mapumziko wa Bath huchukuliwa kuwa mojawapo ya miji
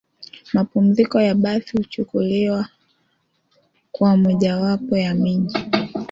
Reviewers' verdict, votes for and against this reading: accepted, 2, 1